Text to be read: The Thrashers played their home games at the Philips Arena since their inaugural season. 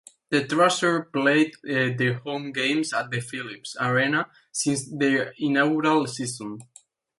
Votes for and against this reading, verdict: 0, 2, rejected